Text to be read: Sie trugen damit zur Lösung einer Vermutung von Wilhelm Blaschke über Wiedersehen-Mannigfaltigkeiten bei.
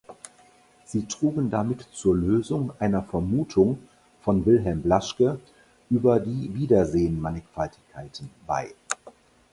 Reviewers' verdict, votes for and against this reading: rejected, 0, 4